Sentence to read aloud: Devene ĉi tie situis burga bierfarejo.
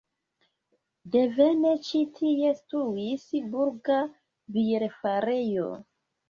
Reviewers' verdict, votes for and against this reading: accepted, 2, 1